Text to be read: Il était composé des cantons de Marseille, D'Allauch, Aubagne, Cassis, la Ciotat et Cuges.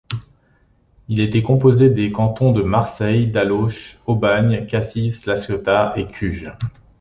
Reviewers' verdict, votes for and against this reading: accepted, 2, 0